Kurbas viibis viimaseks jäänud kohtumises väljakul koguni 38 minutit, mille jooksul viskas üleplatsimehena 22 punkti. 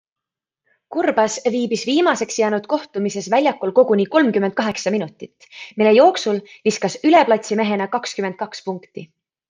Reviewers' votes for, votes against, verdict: 0, 2, rejected